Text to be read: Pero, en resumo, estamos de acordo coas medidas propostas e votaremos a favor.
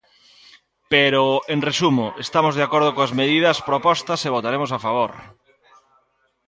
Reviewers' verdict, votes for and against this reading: accepted, 3, 0